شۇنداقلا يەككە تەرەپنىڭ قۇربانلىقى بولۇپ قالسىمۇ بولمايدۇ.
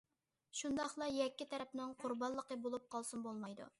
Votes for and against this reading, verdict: 2, 0, accepted